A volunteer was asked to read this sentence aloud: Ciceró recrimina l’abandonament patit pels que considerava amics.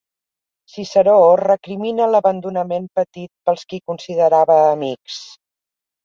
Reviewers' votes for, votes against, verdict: 1, 2, rejected